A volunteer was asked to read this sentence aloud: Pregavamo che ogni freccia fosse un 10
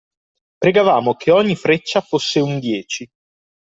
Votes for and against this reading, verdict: 0, 2, rejected